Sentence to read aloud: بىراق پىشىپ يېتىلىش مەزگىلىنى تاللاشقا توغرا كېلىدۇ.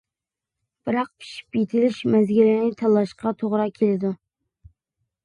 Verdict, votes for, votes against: accepted, 2, 0